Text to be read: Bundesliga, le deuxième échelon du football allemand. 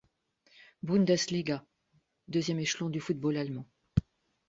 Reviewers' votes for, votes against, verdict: 0, 2, rejected